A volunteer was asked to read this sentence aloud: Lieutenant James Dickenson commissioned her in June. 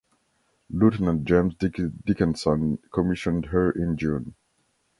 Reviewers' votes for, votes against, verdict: 0, 2, rejected